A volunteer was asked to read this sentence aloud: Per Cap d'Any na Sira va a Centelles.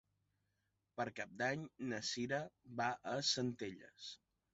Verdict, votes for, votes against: accepted, 2, 0